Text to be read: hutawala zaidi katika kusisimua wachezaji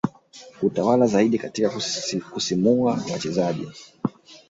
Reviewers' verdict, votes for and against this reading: accepted, 2, 0